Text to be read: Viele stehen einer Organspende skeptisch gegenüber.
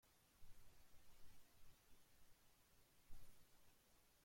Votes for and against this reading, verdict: 0, 2, rejected